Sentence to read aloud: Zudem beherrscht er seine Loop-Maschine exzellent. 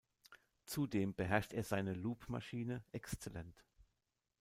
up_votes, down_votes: 1, 2